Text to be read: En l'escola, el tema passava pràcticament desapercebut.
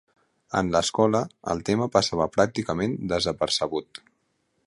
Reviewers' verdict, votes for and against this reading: accepted, 2, 0